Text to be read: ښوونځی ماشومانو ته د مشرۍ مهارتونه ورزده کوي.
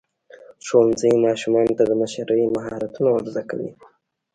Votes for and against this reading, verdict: 1, 2, rejected